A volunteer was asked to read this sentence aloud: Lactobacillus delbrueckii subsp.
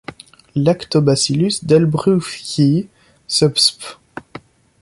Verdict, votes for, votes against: rejected, 0, 2